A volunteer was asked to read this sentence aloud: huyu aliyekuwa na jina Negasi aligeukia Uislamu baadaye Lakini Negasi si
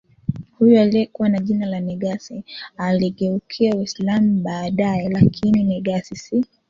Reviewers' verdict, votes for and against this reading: rejected, 1, 2